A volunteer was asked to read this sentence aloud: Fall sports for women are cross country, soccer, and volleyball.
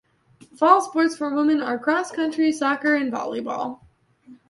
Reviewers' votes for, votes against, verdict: 2, 0, accepted